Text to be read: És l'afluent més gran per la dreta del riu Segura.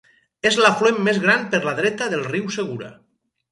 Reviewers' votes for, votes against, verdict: 4, 0, accepted